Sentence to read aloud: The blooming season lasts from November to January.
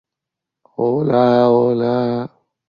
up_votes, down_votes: 0, 2